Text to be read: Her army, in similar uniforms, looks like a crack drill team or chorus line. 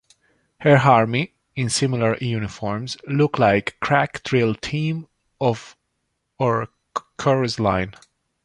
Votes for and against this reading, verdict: 0, 2, rejected